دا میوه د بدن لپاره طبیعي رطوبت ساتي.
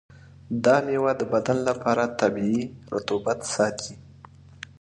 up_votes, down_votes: 2, 0